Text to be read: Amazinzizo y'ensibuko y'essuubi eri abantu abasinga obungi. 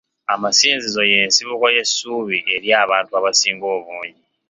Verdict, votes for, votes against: accepted, 2, 1